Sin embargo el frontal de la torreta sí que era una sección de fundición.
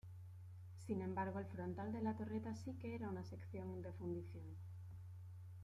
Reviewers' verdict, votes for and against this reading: accepted, 2, 0